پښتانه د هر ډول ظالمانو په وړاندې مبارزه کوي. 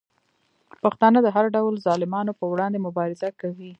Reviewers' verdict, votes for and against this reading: rejected, 0, 2